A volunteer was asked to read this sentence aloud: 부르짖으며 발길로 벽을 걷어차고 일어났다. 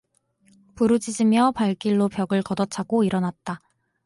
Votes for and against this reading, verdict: 4, 0, accepted